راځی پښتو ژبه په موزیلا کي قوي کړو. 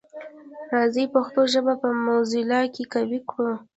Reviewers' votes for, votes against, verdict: 0, 2, rejected